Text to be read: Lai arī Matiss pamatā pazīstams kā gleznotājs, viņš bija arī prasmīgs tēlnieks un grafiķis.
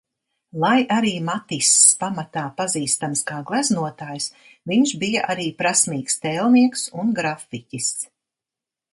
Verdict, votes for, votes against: accepted, 2, 0